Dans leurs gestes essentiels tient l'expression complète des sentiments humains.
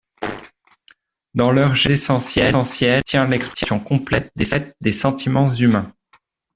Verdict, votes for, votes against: rejected, 0, 2